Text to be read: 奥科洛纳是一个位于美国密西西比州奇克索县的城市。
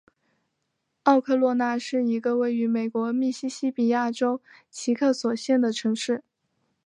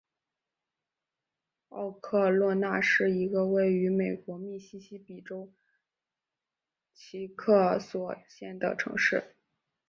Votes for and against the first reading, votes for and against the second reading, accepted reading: 2, 1, 0, 2, first